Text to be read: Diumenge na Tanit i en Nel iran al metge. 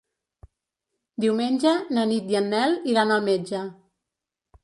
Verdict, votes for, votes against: rejected, 1, 2